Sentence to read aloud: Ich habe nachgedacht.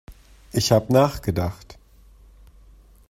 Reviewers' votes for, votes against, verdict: 1, 2, rejected